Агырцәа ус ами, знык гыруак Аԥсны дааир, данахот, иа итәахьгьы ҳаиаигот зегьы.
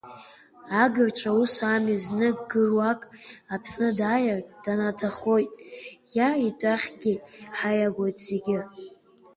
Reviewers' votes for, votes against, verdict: 0, 2, rejected